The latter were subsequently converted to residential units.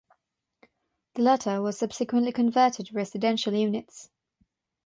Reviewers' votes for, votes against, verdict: 3, 3, rejected